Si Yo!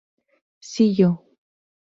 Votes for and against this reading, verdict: 4, 0, accepted